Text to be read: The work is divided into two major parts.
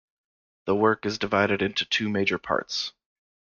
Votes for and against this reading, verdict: 2, 0, accepted